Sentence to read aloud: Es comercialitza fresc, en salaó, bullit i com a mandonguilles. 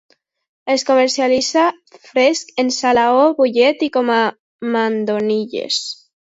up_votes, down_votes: 1, 2